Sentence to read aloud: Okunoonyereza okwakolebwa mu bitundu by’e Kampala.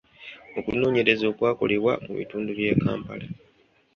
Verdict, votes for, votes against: rejected, 1, 2